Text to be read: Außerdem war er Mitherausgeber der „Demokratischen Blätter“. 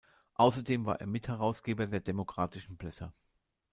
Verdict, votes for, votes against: rejected, 0, 2